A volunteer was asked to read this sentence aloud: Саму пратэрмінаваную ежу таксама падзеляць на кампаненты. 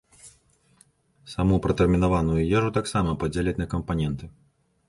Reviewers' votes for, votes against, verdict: 2, 0, accepted